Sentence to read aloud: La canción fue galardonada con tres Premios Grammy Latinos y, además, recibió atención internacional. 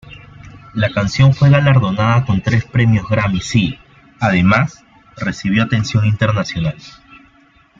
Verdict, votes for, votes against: accepted, 2, 1